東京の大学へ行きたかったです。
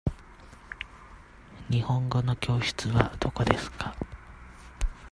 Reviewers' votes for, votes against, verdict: 0, 2, rejected